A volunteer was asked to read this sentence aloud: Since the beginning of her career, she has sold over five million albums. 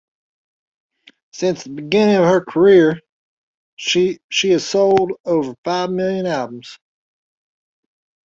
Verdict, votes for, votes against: accepted, 2, 1